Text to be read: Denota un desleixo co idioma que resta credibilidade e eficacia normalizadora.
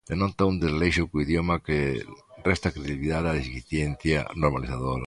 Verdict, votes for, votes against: rejected, 0, 2